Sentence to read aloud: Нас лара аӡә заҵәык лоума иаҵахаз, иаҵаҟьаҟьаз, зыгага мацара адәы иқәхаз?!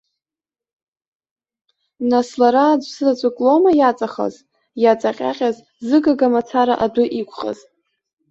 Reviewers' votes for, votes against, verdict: 2, 0, accepted